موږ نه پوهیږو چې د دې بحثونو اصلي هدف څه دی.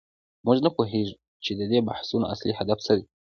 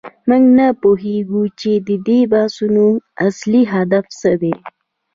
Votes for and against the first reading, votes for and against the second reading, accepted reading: 2, 1, 1, 2, first